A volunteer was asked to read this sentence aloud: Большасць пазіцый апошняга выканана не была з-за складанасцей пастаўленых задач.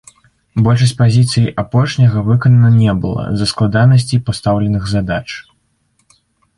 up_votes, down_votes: 0, 2